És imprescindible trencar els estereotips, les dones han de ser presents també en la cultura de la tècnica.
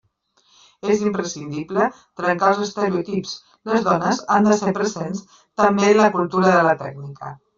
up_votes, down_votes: 1, 2